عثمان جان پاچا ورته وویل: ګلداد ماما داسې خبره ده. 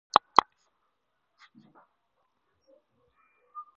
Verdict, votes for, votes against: rejected, 2, 4